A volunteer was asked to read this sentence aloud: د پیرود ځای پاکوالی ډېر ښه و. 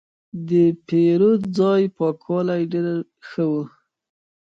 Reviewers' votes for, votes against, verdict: 2, 1, accepted